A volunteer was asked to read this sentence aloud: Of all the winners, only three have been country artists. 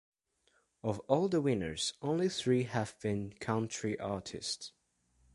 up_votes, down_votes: 2, 0